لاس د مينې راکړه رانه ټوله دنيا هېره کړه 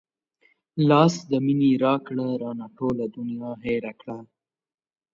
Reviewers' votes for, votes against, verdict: 2, 0, accepted